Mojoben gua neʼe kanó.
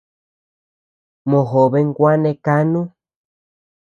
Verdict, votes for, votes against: rejected, 0, 2